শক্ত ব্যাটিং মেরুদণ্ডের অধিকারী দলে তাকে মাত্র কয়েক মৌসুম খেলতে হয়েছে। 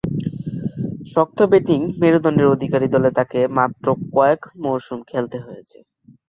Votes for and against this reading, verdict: 0, 2, rejected